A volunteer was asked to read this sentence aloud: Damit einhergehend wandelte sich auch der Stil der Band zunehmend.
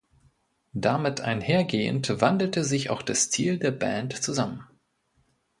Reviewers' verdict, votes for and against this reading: rejected, 0, 2